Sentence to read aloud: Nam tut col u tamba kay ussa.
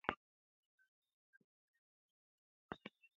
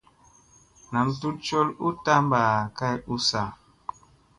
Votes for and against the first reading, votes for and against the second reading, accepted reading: 1, 2, 3, 0, second